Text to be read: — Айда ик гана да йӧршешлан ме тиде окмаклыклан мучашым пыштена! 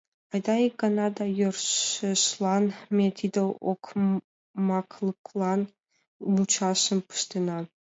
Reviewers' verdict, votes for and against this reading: rejected, 1, 2